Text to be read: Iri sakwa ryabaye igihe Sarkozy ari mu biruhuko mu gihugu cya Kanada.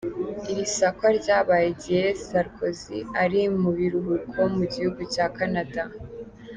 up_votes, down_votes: 2, 0